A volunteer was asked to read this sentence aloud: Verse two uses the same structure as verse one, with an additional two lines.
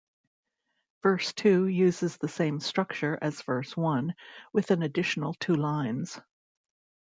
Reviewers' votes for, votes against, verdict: 2, 0, accepted